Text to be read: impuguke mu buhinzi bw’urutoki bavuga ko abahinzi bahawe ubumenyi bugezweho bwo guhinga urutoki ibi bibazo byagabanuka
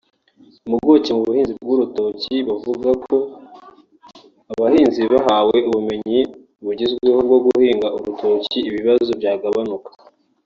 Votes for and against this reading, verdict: 1, 2, rejected